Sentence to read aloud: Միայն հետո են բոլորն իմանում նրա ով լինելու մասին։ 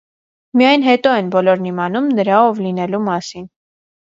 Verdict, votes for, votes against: accepted, 2, 0